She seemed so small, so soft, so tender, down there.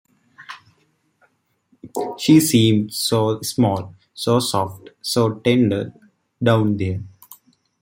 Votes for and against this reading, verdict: 2, 0, accepted